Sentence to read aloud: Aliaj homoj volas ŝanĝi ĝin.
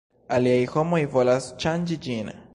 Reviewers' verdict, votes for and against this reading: accepted, 2, 0